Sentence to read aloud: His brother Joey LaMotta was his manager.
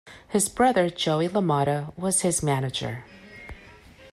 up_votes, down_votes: 2, 0